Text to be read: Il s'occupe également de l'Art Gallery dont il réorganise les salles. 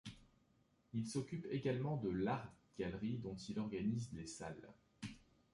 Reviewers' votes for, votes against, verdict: 0, 2, rejected